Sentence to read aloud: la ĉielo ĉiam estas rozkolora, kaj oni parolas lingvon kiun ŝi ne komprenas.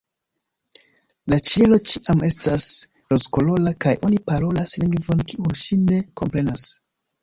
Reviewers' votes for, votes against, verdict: 1, 2, rejected